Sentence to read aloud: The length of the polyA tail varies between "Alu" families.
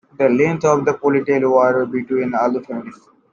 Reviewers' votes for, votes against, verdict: 0, 2, rejected